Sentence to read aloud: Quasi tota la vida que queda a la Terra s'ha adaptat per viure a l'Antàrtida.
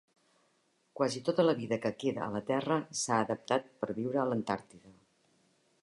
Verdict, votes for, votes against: accepted, 3, 0